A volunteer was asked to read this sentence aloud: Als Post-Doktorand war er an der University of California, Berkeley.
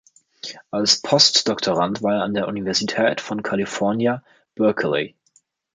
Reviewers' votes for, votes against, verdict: 0, 3, rejected